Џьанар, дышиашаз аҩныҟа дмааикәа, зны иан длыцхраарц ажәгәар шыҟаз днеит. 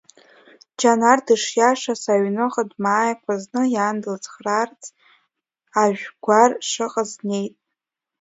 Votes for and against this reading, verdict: 0, 2, rejected